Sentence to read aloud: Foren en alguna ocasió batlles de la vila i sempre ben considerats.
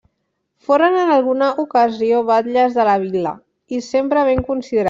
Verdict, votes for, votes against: rejected, 1, 2